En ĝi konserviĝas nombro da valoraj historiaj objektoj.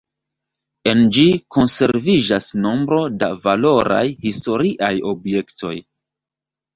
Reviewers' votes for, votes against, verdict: 1, 3, rejected